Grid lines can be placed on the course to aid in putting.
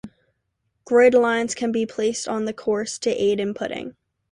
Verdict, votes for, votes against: accepted, 2, 0